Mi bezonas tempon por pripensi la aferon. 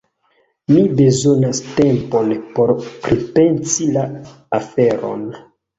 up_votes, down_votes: 2, 1